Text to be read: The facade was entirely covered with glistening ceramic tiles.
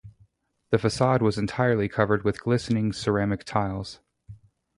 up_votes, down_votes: 0, 2